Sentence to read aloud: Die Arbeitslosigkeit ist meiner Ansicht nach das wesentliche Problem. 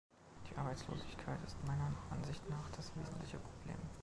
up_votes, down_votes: 0, 2